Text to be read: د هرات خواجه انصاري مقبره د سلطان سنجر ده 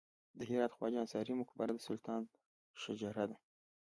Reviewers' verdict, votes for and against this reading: accepted, 2, 0